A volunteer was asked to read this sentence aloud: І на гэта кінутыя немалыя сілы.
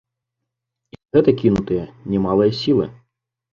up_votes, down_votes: 1, 2